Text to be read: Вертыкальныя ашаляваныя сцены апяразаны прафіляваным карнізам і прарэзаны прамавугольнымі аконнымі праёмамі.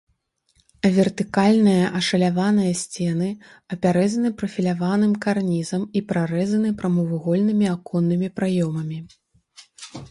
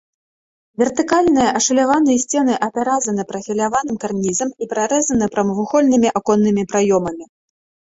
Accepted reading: second